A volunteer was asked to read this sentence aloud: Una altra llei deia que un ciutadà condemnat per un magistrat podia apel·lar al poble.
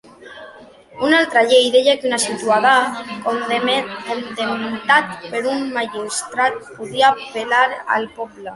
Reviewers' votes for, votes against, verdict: 0, 2, rejected